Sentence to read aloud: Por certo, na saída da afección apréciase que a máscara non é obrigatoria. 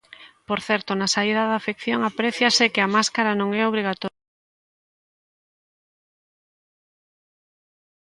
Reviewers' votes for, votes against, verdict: 0, 4, rejected